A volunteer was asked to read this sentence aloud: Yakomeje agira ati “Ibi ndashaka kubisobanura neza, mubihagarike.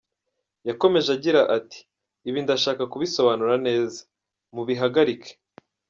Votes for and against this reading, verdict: 2, 1, accepted